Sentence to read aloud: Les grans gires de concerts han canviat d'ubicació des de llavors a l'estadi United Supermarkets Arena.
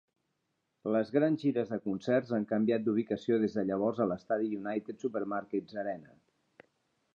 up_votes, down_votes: 3, 0